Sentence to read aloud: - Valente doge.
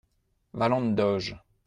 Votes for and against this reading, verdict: 2, 0, accepted